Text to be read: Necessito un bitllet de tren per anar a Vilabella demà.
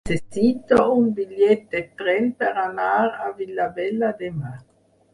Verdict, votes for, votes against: rejected, 4, 6